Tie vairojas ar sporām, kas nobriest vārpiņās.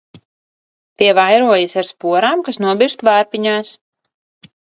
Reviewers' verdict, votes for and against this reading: rejected, 1, 2